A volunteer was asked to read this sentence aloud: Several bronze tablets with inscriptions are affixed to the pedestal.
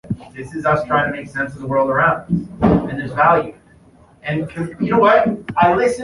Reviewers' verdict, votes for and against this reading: rejected, 0, 2